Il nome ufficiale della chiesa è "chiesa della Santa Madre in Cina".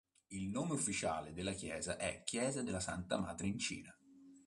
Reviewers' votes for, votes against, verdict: 3, 0, accepted